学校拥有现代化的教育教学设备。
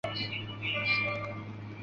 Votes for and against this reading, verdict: 0, 2, rejected